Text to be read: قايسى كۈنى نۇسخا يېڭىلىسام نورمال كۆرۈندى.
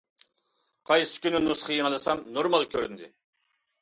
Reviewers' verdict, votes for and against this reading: accepted, 2, 0